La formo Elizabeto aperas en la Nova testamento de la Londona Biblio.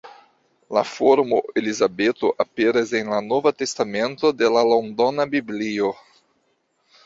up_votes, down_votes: 2, 1